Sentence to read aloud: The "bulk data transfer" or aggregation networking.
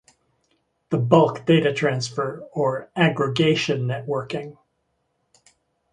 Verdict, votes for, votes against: accepted, 2, 1